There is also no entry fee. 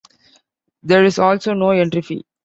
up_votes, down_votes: 2, 1